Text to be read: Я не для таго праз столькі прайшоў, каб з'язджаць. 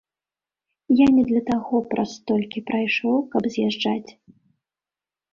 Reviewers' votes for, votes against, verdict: 2, 0, accepted